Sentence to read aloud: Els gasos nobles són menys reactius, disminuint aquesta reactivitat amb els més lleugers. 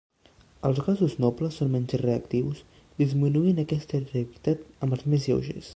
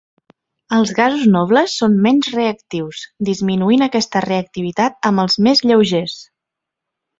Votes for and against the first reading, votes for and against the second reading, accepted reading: 1, 2, 2, 0, second